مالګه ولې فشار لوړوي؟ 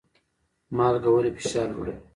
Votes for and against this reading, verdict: 1, 2, rejected